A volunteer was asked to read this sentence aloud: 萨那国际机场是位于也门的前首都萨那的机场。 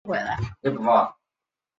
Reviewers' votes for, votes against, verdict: 0, 2, rejected